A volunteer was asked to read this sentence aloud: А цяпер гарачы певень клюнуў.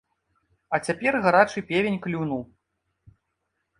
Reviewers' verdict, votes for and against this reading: accepted, 2, 0